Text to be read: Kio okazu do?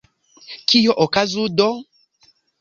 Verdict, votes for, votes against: accepted, 2, 0